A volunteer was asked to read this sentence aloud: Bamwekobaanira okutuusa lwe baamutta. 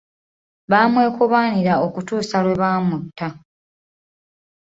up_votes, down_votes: 0, 2